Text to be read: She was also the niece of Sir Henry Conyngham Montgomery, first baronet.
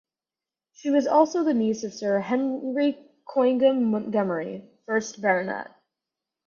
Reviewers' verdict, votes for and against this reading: rejected, 2, 4